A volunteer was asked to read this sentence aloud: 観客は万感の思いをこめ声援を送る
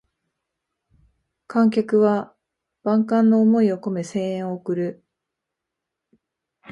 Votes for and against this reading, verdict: 2, 3, rejected